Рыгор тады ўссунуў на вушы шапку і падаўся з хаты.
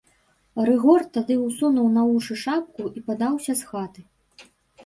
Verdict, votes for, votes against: accepted, 2, 0